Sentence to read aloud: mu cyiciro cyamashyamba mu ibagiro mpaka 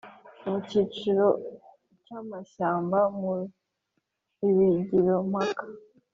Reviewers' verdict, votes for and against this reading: accepted, 6, 1